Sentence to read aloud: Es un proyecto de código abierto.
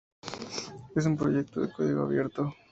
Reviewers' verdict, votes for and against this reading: rejected, 2, 2